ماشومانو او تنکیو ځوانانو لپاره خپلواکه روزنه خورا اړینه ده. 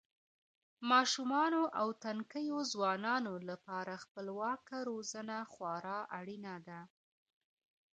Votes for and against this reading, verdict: 1, 2, rejected